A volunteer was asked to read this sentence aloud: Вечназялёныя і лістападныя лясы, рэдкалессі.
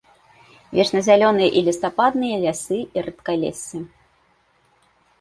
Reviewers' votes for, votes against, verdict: 0, 2, rejected